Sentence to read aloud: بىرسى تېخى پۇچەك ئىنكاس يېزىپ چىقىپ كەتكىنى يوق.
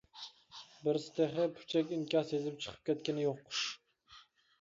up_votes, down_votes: 2, 0